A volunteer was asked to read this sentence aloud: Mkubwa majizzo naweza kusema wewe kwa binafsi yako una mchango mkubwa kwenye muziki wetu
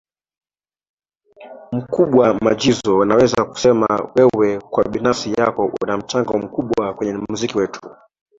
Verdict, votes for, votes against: accepted, 2, 1